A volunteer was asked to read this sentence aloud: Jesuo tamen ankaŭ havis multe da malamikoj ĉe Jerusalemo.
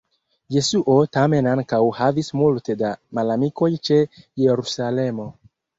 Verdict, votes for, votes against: accepted, 2, 0